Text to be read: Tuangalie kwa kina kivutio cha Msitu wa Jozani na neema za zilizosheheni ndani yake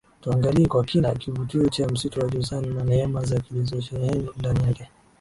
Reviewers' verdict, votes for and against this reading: accepted, 4, 1